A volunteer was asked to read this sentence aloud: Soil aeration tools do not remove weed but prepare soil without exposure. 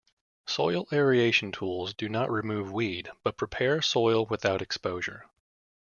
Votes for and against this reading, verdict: 0, 2, rejected